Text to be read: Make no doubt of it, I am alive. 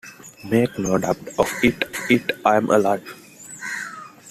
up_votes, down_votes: 1, 2